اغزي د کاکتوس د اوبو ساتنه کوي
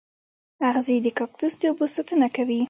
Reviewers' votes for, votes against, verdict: 1, 2, rejected